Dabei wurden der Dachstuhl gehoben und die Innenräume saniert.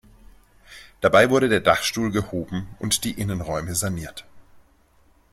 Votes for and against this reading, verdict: 1, 3, rejected